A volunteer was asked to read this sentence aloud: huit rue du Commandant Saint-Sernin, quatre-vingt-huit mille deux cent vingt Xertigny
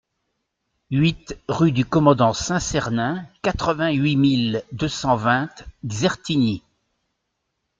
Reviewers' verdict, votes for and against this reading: accepted, 2, 0